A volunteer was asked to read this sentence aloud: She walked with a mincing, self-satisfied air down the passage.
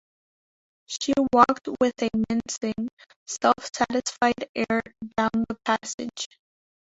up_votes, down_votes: 2, 1